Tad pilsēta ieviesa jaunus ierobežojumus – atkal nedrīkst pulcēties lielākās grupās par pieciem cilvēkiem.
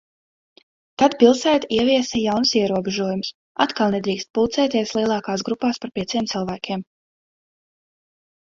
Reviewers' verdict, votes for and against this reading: accepted, 2, 0